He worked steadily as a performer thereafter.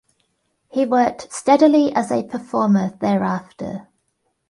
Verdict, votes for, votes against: accepted, 2, 0